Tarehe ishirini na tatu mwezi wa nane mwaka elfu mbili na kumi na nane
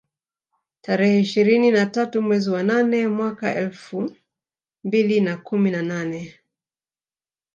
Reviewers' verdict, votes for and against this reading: rejected, 0, 2